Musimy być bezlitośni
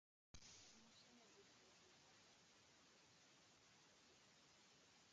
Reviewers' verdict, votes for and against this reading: rejected, 0, 2